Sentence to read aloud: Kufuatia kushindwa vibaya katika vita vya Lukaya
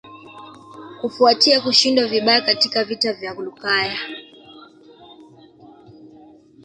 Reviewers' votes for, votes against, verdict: 2, 0, accepted